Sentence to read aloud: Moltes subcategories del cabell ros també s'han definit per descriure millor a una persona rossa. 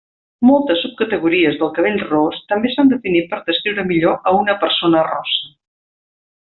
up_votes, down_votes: 0, 2